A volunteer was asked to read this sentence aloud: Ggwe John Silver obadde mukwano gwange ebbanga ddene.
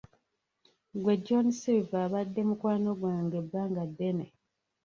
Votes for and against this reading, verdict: 1, 2, rejected